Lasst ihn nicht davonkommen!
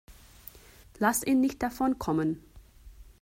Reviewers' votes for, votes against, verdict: 1, 2, rejected